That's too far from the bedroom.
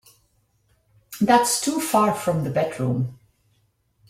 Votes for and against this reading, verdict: 2, 0, accepted